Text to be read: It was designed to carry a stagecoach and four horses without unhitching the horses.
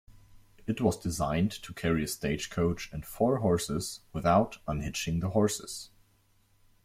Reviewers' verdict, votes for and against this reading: accepted, 2, 0